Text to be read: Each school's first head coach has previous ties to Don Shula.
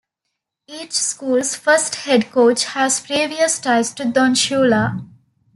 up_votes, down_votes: 2, 0